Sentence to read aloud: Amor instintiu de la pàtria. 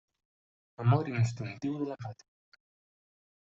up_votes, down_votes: 0, 2